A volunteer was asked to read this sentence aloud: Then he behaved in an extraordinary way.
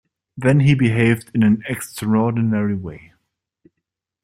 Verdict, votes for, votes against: accepted, 2, 0